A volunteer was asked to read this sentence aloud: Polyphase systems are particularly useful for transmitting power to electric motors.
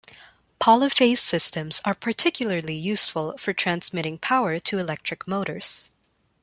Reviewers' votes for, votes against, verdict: 2, 0, accepted